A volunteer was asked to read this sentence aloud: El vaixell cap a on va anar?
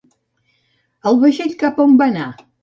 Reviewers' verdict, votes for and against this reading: accepted, 2, 0